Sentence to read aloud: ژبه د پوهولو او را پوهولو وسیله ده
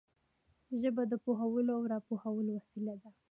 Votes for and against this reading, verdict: 1, 2, rejected